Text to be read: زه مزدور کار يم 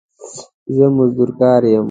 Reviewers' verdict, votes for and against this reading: accepted, 2, 0